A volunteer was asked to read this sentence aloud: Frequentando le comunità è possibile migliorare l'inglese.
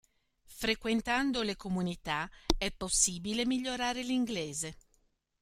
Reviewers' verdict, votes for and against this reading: rejected, 1, 2